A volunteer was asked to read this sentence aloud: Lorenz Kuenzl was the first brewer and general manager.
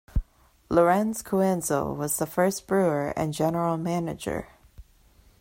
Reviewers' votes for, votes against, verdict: 1, 2, rejected